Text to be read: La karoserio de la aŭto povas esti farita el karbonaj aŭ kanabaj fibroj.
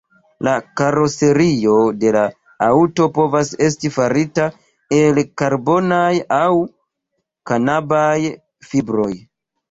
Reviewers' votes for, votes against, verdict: 2, 3, rejected